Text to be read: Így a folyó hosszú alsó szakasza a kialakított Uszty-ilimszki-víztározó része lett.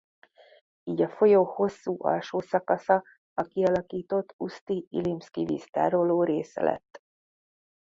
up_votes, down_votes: 0, 2